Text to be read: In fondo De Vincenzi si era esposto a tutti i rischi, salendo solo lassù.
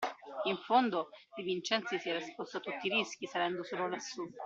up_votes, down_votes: 1, 2